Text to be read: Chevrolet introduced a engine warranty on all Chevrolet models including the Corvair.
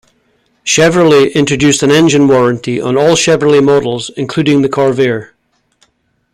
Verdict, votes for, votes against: rejected, 1, 2